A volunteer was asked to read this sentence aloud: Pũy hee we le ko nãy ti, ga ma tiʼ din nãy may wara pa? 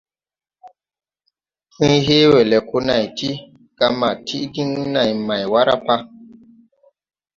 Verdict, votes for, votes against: accepted, 2, 0